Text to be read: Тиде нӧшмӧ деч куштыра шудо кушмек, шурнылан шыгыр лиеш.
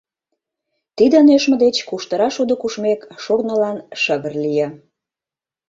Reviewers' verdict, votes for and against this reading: rejected, 1, 2